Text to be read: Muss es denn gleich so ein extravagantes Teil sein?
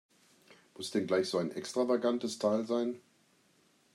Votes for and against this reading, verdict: 0, 2, rejected